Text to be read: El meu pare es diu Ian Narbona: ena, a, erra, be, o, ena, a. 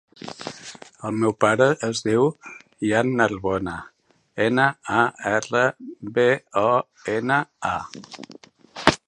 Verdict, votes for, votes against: accepted, 3, 2